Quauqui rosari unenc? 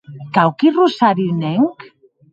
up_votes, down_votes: 0, 2